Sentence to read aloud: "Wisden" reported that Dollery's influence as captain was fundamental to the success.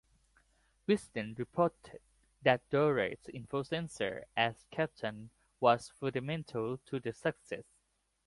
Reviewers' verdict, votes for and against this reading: accepted, 2, 1